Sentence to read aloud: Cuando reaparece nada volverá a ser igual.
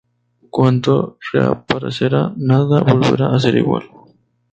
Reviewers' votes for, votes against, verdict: 0, 2, rejected